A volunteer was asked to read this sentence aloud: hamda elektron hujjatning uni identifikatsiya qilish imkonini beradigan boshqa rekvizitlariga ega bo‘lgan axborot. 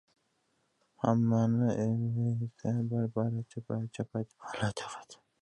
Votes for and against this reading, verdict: 1, 2, rejected